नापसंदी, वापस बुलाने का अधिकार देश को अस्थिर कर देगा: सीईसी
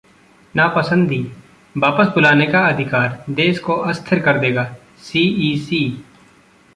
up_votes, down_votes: 2, 0